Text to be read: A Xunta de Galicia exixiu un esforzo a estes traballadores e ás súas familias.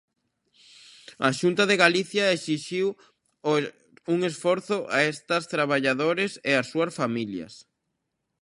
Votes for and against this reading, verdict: 0, 2, rejected